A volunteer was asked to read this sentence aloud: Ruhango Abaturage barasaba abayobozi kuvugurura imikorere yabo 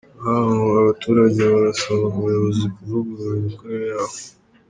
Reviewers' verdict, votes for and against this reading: rejected, 1, 2